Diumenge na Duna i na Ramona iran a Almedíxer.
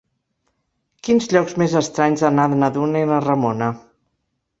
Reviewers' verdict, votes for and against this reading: rejected, 0, 2